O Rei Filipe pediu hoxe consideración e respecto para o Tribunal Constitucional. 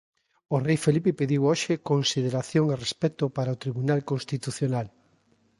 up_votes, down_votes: 0, 2